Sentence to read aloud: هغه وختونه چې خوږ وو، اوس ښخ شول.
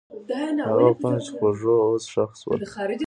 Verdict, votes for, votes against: rejected, 1, 2